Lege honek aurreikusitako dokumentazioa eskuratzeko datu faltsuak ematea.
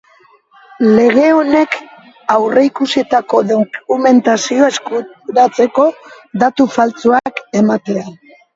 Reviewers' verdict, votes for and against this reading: rejected, 1, 2